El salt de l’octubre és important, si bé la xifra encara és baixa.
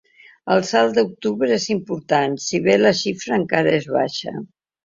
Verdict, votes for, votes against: rejected, 0, 2